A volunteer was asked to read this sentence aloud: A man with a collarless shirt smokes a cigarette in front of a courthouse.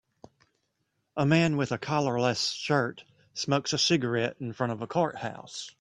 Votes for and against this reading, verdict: 2, 0, accepted